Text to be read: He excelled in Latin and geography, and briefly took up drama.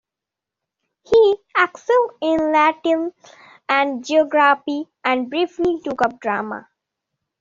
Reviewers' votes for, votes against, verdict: 0, 2, rejected